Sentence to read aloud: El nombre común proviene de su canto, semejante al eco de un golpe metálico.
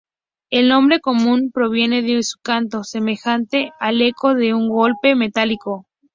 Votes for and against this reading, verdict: 2, 0, accepted